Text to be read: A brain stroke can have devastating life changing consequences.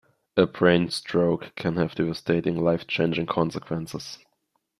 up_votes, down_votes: 2, 0